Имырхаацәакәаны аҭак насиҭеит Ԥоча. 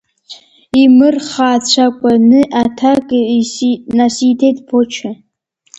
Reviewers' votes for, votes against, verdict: 1, 2, rejected